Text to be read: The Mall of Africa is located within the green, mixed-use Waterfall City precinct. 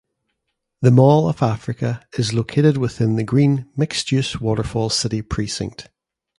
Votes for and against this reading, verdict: 2, 0, accepted